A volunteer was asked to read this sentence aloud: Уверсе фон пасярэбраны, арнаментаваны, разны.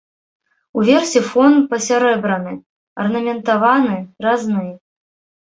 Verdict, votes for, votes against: accepted, 2, 0